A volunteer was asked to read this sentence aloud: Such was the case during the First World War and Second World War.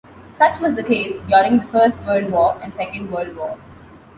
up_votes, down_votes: 2, 0